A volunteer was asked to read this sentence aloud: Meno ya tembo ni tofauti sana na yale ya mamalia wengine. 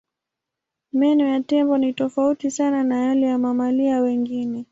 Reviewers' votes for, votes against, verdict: 2, 0, accepted